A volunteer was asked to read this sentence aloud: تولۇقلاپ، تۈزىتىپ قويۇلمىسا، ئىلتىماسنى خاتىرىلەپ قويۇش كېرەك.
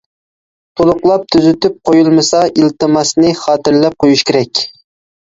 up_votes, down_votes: 2, 0